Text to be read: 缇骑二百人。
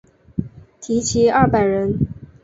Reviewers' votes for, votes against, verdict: 3, 0, accepted